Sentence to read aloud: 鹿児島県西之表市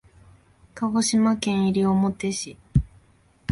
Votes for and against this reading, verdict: 1, 2, rejected